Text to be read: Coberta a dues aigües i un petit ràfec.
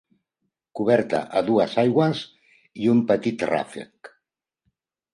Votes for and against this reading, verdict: 1, 2, rejected